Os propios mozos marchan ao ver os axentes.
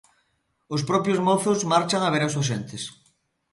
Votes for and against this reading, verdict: 1, 2, rejected